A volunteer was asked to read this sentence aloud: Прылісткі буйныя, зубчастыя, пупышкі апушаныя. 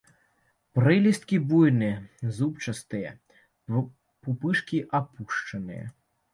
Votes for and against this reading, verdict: 1, 2, rejected